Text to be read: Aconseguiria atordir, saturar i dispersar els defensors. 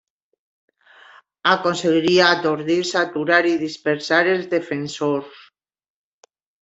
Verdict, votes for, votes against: accepted, 2, 0